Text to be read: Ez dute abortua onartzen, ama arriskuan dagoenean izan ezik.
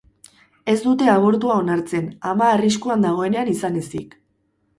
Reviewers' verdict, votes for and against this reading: accepted, 4, 0